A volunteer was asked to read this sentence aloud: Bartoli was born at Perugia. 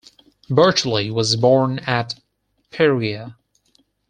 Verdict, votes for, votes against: rejected, 2, 4